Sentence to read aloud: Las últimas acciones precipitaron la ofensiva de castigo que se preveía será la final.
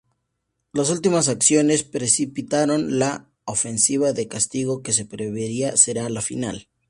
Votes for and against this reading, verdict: 0, 2, rejected